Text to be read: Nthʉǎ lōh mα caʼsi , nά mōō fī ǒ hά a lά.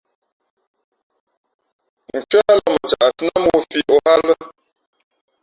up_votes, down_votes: 0, 2